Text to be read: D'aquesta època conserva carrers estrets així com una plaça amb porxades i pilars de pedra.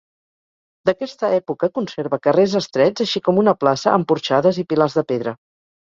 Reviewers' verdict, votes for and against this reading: accepted, 4, 0